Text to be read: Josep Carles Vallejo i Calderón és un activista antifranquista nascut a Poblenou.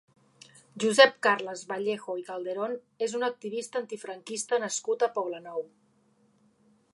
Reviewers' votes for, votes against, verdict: 3, 0, accepted